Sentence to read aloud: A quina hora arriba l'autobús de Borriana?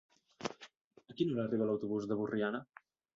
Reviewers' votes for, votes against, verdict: 1, 2, rejected